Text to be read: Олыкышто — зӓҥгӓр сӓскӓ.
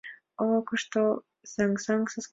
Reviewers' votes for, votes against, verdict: 1, 2, rejected